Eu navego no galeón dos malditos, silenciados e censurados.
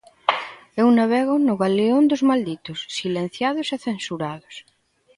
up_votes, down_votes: 2, 0